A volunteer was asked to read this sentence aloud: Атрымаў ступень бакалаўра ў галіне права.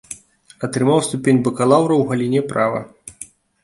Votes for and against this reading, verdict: 2, 0, accepted